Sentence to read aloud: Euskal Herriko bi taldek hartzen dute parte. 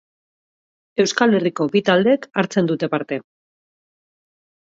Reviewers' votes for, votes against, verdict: 4, 0, accepted